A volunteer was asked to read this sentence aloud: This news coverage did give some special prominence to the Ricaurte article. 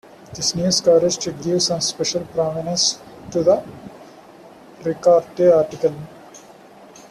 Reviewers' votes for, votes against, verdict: 2, 1, accepted